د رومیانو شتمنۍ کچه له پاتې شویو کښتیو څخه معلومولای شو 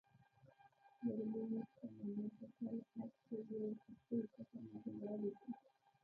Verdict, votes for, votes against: rejected, 1, 3